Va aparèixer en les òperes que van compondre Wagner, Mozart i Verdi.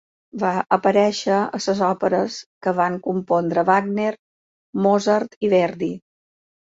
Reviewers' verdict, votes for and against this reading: rejected, 0, 2